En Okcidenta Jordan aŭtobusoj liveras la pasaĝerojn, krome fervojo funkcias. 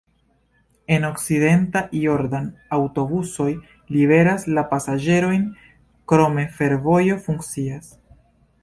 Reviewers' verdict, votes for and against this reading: accepted, 2, 0